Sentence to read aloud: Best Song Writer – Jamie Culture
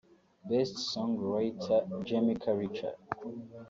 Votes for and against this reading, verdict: 0, 2, rejected